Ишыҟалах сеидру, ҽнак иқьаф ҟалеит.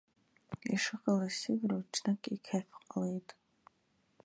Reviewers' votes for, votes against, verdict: 1, 2, rejected